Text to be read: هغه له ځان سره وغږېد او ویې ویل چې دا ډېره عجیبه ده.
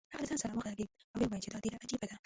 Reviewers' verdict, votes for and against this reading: rejected, 0, 2